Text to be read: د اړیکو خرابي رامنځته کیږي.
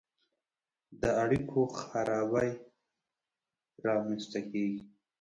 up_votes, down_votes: 1, 2